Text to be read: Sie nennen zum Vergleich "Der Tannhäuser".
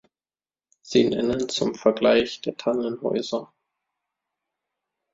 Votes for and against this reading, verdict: 0, 2, rejected